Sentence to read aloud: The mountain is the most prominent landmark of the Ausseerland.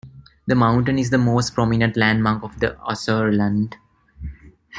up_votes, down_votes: 0, 2